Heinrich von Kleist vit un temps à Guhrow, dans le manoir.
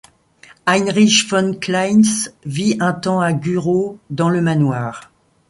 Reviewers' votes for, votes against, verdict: 2, 0, accepted